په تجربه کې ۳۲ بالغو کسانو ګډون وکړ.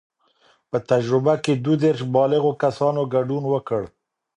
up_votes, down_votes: 0, 2